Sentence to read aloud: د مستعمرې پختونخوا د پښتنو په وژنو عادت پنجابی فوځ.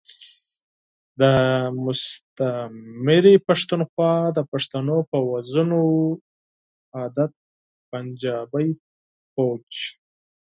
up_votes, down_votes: 2, 4